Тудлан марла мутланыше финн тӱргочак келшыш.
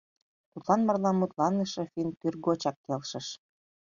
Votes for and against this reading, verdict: 2, 0, accepted